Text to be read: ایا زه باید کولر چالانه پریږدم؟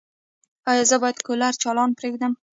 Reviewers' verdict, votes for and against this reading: rejected, 1, 2